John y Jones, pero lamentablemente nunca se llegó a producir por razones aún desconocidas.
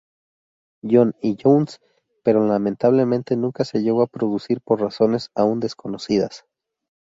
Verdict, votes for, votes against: accepted, 2, 0